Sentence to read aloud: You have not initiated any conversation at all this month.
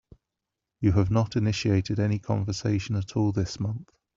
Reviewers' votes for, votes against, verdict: 2, 0, accepted